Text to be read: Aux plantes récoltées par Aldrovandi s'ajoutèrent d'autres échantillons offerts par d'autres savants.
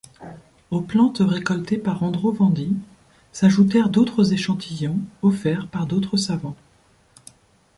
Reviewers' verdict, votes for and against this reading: rejected, 0, 2